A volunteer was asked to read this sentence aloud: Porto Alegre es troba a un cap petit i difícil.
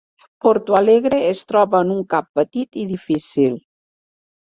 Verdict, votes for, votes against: rejected, 2, 3